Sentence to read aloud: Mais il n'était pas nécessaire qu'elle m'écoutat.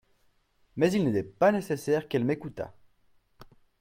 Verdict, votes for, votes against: rejected, 1, 2